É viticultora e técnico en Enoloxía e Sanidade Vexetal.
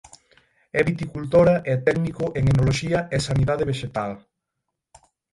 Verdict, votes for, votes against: rejected, 0, 6